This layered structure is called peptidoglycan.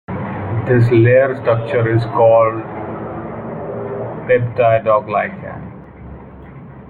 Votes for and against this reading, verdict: 1, 2, rejected